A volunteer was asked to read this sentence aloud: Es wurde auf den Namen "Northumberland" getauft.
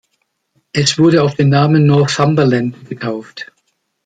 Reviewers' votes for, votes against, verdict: 2, 0, accepted